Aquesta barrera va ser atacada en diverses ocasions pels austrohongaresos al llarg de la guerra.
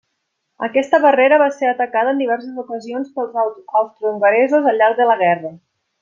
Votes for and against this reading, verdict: 1, 2, rejected